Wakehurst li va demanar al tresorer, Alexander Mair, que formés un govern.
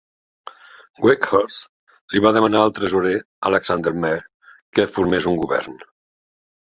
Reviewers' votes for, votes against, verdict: 2, 1, accepted